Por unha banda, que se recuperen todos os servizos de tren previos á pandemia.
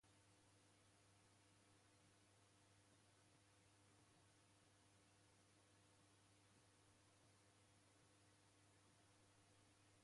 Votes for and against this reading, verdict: 0, 2, rejected